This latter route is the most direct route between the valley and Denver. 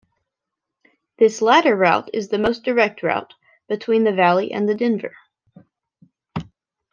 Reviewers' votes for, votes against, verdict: 0, 2, rejected